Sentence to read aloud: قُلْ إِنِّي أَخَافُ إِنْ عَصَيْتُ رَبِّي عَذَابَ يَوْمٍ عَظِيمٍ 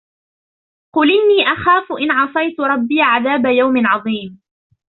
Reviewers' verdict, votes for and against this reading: rejected, 0, 2